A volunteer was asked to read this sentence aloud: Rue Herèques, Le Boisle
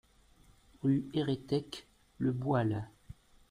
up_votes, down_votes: 0, 2